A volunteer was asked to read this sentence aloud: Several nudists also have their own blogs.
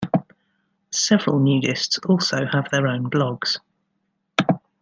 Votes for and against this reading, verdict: 2, 0, accepted